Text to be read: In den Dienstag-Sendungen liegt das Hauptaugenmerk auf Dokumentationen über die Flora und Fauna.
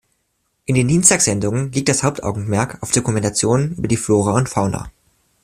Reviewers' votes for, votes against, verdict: 2, 0, accepted